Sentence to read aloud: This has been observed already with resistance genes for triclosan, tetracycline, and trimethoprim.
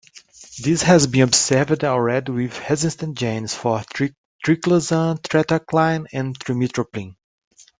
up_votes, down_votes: 0, 2